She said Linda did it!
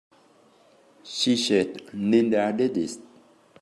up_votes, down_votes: 0, 2